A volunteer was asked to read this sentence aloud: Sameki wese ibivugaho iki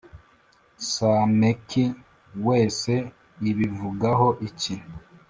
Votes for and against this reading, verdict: 2, 0, accepted